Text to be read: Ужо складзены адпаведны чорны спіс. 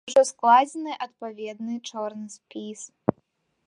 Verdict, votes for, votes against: accepted, 2, 0